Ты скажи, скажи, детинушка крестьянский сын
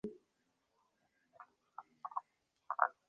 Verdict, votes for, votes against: rejected, 0, 2